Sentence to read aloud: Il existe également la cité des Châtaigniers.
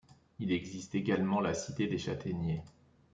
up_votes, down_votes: 1, 2